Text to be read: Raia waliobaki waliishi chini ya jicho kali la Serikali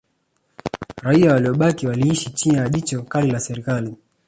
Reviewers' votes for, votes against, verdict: 1, 2, rejected